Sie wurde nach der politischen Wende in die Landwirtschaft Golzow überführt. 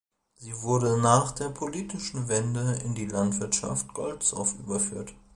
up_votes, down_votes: 0, 2